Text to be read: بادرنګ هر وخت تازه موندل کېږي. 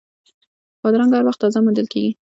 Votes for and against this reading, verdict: 2, 0, accepted